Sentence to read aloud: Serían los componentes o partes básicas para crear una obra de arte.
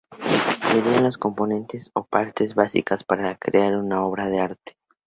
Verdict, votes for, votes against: rejected, 0, 2